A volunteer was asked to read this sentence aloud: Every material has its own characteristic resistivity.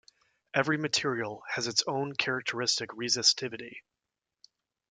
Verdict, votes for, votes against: accepted, 2, 0